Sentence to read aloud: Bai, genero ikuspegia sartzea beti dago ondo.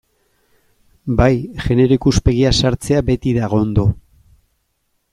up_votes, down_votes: 2, 0